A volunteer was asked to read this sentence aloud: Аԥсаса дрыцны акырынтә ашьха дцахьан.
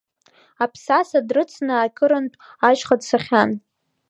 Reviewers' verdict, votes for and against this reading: accepted, 2, 1